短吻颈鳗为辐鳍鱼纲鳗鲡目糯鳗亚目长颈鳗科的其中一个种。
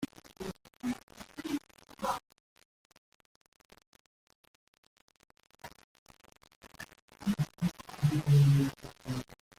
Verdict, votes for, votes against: rejected, 0, 2